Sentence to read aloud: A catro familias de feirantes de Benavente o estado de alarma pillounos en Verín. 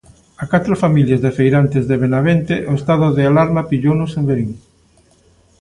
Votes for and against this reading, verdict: 3, 0, accepted